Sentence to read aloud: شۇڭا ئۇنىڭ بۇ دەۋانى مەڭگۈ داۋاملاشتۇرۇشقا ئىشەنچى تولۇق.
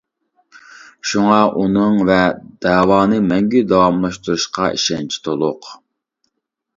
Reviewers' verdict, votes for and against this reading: rejected, 0, 2